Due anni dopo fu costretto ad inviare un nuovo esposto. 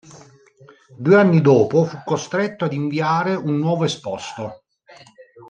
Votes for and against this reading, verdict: 2, 0, accepted